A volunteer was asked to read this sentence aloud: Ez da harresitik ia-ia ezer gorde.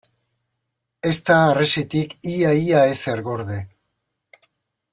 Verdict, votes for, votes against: accepted, 2, 0